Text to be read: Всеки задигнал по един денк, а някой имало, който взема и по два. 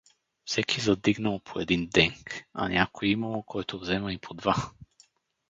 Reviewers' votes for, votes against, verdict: 4, 0, accepted